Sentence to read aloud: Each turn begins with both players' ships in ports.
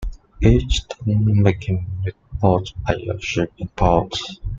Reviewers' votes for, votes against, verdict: 0, 2, rejected